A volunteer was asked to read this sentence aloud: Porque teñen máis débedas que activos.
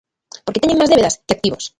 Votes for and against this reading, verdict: 0, 2, rejected